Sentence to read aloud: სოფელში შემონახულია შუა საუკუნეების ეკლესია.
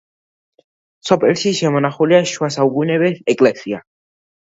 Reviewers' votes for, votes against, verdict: 2, 0, accepted